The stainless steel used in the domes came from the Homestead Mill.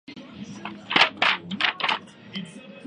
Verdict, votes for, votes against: rejected, 0, 3